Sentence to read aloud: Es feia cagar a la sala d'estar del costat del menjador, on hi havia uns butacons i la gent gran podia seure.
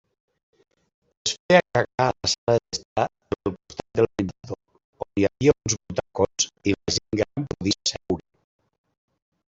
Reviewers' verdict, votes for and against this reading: rejected, 0, 2